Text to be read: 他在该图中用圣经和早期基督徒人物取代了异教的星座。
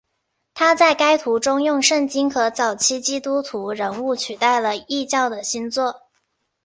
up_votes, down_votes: 2, 0